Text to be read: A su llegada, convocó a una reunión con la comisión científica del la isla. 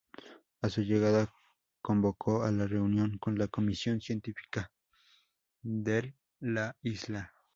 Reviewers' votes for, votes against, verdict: 0, 4, rejected